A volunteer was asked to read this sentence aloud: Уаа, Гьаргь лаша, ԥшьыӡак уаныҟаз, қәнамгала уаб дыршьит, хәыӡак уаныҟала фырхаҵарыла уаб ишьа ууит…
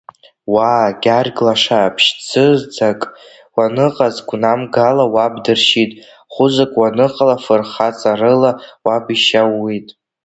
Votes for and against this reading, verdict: 0, 2, rejected